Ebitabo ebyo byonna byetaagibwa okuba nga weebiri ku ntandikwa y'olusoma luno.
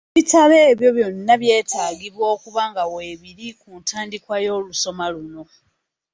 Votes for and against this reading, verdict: 0, 2, rejected